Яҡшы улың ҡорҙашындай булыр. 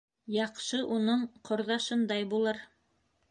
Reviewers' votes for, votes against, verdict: 1, 2, rejected